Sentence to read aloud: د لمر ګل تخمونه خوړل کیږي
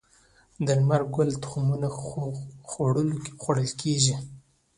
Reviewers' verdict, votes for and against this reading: accepted, 2, 0